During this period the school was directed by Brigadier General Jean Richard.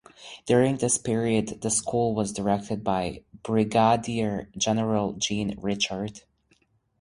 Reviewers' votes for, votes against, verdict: 4, 0, accepted